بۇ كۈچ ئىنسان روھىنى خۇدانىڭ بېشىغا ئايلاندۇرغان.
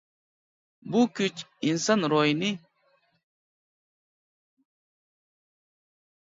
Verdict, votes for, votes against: rejected, 0, 2